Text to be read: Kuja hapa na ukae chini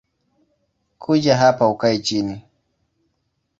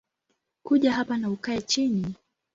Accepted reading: second